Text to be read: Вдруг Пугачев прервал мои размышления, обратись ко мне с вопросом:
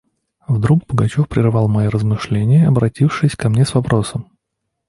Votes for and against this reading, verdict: 1, 2, rejected